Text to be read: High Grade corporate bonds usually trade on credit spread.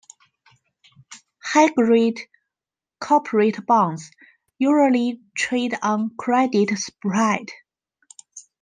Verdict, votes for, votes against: rejected, 0, 2